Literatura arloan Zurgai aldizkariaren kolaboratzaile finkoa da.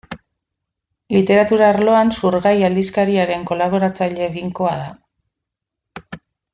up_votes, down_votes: 1, 2